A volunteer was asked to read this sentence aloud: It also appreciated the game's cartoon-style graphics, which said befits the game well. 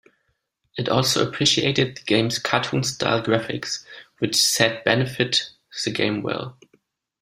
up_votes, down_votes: 0, 2